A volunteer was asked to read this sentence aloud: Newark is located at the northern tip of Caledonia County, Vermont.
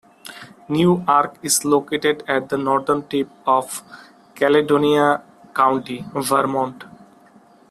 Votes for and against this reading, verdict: 2, 1, accepted